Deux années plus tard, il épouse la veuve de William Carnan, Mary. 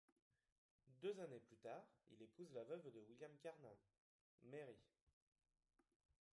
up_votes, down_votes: 2, 1